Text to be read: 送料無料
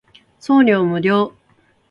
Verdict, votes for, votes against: accepted, 2, 0